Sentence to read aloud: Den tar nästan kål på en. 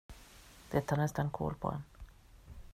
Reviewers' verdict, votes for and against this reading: rejected, 1, 2